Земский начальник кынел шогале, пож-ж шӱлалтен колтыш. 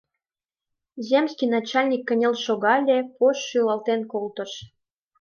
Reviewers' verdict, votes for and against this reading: accepted, 2, 0